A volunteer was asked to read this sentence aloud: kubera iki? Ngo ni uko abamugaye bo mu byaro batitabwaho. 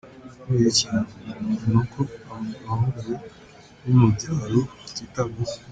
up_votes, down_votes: 1, 2